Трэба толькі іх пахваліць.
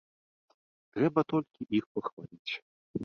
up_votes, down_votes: 1, 2